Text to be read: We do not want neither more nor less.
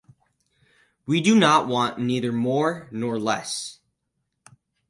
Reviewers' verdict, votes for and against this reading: accepted, 4, 0